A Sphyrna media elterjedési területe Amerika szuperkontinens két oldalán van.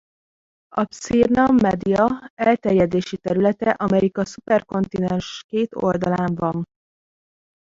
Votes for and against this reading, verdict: 1, 3, rejected